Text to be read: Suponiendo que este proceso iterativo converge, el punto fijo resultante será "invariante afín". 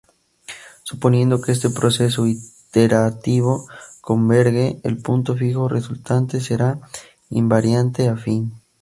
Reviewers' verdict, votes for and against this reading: accepted, 4, 2